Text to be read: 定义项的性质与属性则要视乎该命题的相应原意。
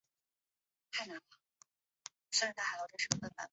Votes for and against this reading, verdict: 0, 2, rejected